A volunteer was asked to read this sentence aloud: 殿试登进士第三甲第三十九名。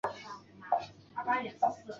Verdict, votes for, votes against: rejected, 1, 2